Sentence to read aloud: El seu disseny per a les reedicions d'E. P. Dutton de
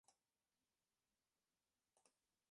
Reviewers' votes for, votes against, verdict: 1, 2, rejected